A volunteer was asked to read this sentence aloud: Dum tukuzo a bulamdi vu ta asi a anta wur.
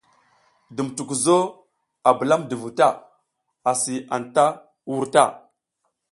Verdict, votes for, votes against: accepted, 3, 0